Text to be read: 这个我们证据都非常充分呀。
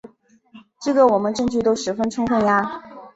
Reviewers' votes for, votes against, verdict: 3, 2, accepted